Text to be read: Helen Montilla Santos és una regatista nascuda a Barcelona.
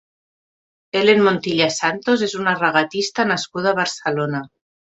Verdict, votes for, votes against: accepted, 2, 0